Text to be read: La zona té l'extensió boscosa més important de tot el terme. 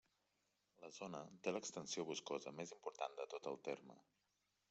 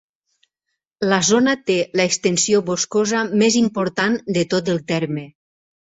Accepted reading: second